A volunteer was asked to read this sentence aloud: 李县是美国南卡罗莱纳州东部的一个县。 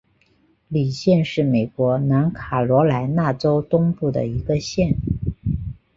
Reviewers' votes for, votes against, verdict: 2, 0, accepted